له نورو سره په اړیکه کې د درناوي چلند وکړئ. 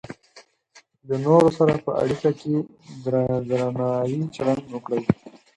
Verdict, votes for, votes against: rejected, 2, 4